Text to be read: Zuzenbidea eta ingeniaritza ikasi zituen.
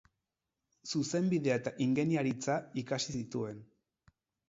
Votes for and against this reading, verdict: 4, 0, accepted